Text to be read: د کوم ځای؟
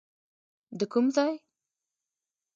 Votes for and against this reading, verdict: 2, 0, accepted